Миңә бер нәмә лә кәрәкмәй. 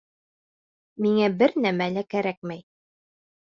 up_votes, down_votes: 2, 0